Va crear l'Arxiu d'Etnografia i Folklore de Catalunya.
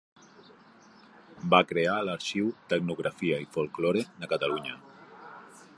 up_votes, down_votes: 0, 2